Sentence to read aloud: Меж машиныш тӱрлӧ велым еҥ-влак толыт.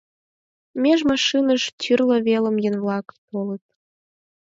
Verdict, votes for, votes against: accepted, 4, 2